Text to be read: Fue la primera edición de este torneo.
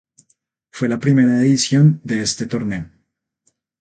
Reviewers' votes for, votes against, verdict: 0, 2, rejected